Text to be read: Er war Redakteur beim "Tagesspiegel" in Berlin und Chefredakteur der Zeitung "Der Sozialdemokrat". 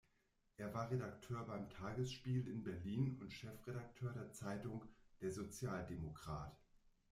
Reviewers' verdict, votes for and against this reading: rejected, 0, 2